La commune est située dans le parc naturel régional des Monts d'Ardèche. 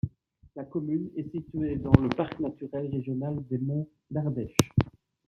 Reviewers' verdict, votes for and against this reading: accepted, 2, 0